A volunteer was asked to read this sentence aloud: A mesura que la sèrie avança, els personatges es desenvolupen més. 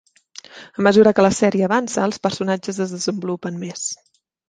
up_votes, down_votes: 3, 0